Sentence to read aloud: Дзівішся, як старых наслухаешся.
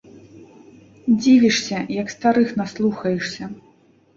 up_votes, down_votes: 1, 2